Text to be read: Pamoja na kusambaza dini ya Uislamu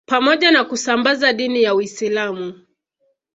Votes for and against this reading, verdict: 2, 0, accepted